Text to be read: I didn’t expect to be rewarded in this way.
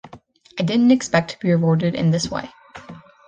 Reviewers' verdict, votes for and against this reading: accepted, 2, 0